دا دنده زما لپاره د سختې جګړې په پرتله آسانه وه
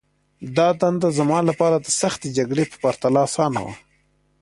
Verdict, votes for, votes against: accepted, 2, 0